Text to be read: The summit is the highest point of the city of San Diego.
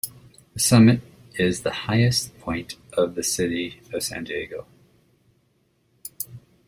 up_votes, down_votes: 2, 0